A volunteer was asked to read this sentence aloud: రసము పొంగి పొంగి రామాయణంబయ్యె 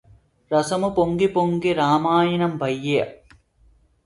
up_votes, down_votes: 2, 0